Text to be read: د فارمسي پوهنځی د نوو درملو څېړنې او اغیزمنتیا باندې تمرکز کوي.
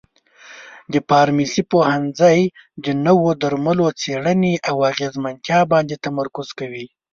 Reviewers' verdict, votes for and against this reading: accepted, 2, 0